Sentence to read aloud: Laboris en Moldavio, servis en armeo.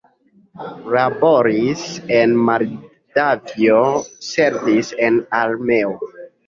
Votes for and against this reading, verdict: 0, 3, rejected